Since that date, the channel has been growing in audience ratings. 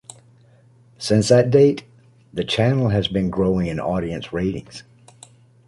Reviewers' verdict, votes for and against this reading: accepted, 2, 0